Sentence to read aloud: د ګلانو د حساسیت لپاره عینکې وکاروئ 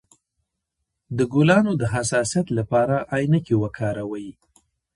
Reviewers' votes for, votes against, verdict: 0, 2, rejected